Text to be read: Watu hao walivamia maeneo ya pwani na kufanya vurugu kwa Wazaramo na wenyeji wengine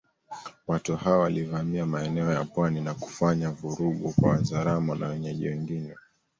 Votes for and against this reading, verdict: 2, 1, accepted